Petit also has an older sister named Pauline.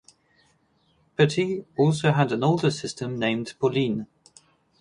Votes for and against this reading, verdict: 2, 2, rejected